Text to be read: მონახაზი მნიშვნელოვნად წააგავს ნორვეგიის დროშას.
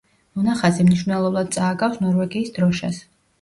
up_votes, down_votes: 1, 2